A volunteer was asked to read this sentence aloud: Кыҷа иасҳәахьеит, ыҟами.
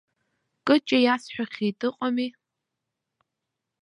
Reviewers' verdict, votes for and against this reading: accepted, 2, 0